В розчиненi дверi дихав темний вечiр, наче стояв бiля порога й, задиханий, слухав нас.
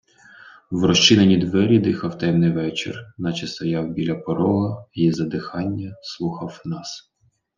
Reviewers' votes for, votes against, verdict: 1, 2, rejected